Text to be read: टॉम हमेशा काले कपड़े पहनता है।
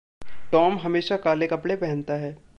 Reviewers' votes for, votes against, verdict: 2, 0, accepted